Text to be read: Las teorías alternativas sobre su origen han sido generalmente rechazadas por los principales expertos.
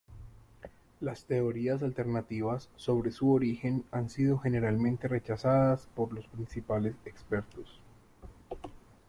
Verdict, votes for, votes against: accepted, 2, 1